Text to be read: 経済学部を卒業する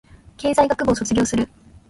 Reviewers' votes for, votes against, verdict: 3, 0, accepted